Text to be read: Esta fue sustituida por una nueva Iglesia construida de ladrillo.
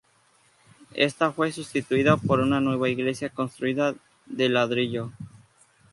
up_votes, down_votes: 2, 0